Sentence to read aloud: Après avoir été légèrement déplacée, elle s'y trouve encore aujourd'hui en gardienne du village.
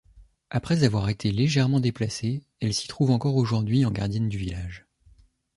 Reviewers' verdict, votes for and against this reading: accepted, 2, 0